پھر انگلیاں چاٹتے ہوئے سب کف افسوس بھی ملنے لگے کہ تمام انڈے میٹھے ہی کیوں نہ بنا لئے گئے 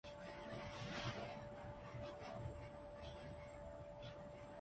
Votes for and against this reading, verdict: 0, 4, rejected